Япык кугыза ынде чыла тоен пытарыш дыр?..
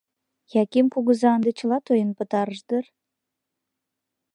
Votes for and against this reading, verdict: 0, 2, rejected